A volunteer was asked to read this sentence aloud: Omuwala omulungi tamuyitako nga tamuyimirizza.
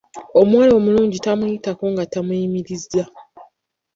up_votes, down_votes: 0, 2